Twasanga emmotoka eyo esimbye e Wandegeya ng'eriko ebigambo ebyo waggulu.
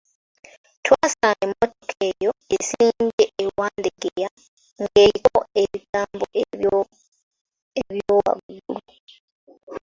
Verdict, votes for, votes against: rejected, 2, 3